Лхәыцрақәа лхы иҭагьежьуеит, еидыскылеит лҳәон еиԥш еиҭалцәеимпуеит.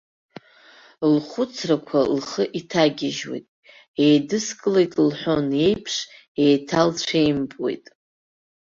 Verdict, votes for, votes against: rejected, 0, 2